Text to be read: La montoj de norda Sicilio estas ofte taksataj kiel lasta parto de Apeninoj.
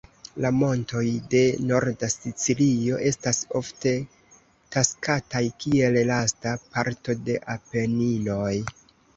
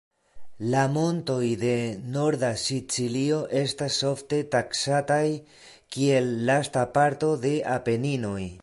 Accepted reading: second